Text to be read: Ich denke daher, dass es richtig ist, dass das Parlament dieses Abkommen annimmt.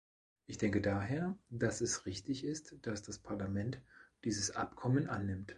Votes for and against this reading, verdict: 2, 0, accepted